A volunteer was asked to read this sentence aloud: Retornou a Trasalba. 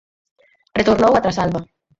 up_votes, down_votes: 4, 0